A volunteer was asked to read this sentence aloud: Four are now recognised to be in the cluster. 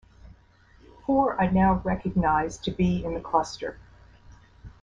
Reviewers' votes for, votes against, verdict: 2, 0, accepted